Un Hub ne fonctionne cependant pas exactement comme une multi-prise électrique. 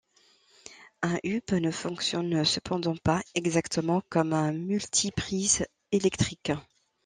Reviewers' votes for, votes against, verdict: 0, 2, rejected